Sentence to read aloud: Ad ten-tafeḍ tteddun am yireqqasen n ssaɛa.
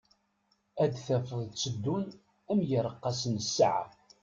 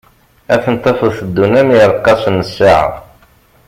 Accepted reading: second